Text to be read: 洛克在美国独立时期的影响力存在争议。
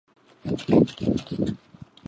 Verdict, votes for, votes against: rejected, 0, 2